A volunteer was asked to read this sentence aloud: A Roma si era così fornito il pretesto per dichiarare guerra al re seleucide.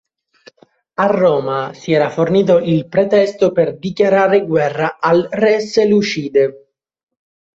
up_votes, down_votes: 2, 1